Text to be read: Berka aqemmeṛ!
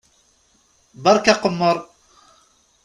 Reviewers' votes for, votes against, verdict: 2, 0, accepted